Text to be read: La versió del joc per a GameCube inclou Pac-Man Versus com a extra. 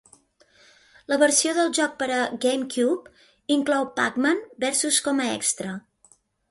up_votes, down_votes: 2, 1